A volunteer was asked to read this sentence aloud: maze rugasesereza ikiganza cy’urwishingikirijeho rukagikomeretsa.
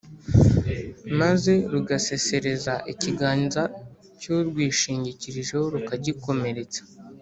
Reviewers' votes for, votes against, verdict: 2, 0, accepted